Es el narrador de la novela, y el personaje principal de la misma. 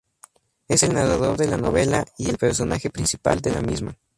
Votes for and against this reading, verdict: 0, 2, rejected